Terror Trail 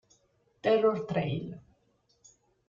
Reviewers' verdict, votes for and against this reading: rejected, 1, 2